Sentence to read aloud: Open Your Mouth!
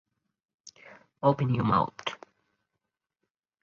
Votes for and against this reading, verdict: 0, 4, rejected